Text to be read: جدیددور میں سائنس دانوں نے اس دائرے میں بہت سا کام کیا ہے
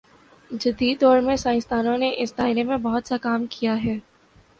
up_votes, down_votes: 3, 0